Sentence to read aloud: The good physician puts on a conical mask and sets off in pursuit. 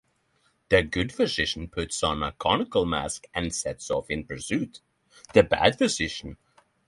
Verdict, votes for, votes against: rejected, 0, 3